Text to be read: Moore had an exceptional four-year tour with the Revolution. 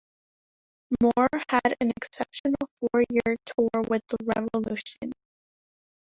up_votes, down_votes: 2, 0